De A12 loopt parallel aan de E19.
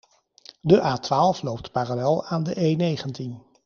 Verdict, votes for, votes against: rejected, 0, 2